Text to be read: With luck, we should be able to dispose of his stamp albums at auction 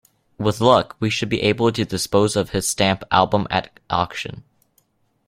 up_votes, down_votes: 0, 2